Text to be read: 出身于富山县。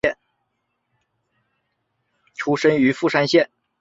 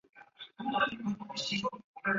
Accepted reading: first